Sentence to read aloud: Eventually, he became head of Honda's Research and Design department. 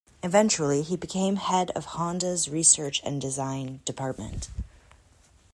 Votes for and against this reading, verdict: 2, 0, accepted